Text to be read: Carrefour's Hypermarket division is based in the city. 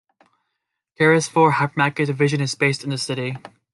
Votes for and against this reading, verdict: 2, 1, accepted